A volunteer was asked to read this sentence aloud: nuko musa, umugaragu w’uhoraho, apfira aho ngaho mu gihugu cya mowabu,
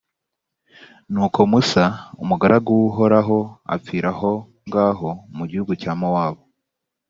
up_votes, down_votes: 2, 0